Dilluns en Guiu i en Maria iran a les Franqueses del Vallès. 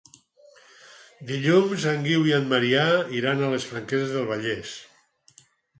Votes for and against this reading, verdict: 2, 4, rejected